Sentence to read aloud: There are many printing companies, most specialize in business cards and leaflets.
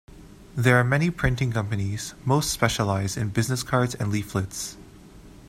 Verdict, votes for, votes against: accepted, 2, 0